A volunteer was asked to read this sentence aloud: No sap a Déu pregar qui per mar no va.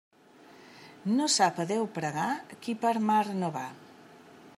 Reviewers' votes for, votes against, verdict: 3, 0, accepted